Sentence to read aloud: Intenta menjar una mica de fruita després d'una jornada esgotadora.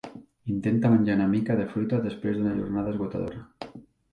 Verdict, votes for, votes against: rejected, 1, 2